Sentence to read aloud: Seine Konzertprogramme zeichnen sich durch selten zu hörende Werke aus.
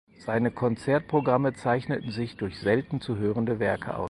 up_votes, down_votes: 2, 4